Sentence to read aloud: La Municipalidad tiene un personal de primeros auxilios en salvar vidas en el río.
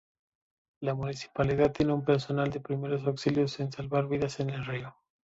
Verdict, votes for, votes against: accepted, 2, 0